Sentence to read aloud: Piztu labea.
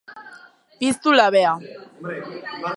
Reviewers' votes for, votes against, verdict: 2, 1, accepted